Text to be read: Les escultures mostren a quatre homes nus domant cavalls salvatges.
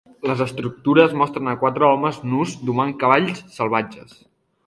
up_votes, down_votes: 1, 2